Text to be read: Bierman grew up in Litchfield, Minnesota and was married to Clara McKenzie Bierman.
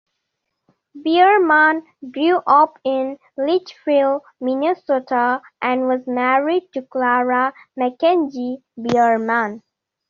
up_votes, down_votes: 2, 0